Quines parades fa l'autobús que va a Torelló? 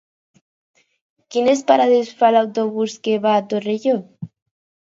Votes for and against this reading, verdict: 4, 0, accepted